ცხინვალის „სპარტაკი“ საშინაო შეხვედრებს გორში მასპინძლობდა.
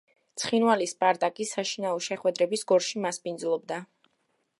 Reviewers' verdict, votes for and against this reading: rejected, 0, 2